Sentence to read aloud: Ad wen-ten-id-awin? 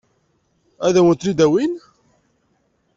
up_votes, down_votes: 2, 0